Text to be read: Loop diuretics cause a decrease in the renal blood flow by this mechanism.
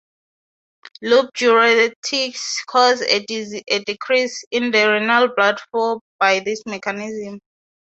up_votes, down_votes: 6, 0